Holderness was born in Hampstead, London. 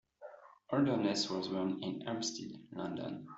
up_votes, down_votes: 2, 1